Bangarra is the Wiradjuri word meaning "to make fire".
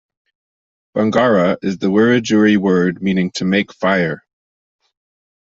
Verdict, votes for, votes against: accepted, 2, 0